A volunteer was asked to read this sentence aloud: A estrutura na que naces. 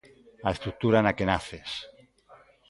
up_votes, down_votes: 2, 0